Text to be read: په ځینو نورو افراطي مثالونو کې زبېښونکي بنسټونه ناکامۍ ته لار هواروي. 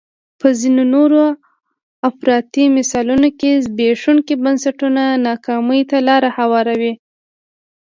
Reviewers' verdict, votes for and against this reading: accepted, 2, 0